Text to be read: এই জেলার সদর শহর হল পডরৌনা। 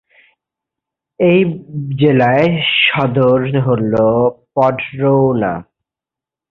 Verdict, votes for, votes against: rejected, 0, 3